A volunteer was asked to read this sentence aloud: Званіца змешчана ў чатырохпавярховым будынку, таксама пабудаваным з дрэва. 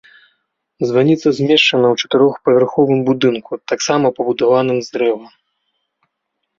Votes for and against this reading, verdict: 2, 0, accepted